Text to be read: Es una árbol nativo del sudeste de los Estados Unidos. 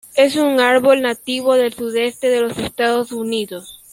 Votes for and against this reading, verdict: 0, 2, rejected